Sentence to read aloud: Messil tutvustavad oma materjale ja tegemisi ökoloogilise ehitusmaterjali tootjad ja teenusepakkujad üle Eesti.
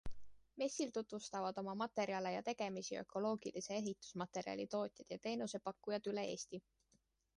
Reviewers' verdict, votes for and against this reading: accepted, 2, 0